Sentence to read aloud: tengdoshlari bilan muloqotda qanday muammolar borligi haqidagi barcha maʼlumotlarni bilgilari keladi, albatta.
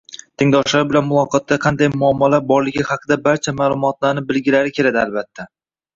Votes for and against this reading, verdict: 1, 2, rejected